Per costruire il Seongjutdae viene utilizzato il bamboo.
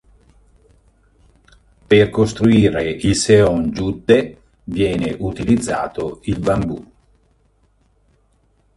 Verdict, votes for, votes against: rejected, 1, 2